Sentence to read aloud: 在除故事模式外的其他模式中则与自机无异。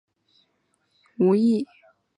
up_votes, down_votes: 0, 4